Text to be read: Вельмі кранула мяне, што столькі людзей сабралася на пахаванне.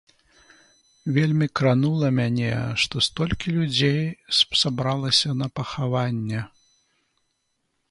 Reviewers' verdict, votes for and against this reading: rejected, 1, 2